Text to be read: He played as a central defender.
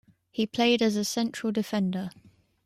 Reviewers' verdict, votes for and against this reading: accepted, 2, 1